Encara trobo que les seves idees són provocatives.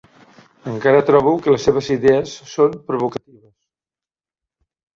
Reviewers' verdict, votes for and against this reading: accepted, 3, 1